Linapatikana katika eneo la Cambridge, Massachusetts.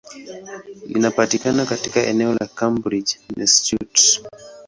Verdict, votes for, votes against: rejected, 0, 2